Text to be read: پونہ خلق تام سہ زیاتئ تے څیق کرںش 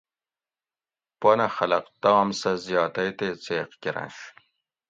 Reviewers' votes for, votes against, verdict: 2, 0, accepted